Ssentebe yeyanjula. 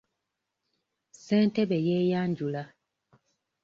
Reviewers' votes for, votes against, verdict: 0, 2, rejected